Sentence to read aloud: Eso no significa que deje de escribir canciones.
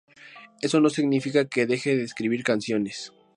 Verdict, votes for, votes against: accepted, 2, 0